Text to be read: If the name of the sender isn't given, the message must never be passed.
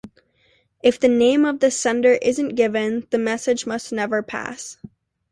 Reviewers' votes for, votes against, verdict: 2, 1, accepted